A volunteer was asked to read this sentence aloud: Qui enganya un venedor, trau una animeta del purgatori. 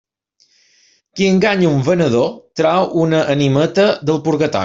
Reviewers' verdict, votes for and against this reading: rejected, 1, 2